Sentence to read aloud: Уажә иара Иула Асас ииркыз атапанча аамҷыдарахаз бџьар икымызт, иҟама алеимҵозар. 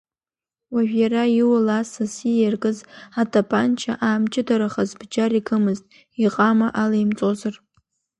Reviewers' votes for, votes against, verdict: 1, 2, rejected